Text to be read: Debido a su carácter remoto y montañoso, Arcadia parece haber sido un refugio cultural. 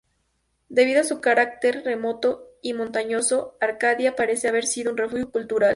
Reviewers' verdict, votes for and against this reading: accepted, 2, 0